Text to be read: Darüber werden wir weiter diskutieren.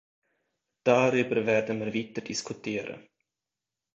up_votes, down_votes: 1, 2